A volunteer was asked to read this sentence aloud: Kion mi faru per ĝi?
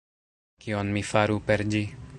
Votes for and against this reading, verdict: 1, 2, rejected